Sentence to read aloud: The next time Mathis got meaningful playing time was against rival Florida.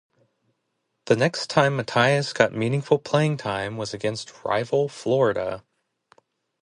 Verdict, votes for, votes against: accepted, 4, 0